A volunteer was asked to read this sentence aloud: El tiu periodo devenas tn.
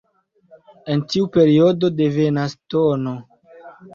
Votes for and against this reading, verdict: 2, 0, accepted